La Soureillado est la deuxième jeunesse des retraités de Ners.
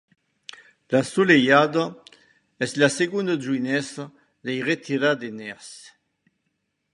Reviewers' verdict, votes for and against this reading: rejected, 1, 2